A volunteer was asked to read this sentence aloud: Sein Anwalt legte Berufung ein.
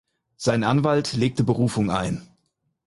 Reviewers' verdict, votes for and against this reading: accepted, 4, 0